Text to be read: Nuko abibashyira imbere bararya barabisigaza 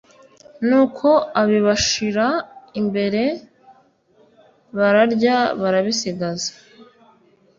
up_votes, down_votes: 2, 0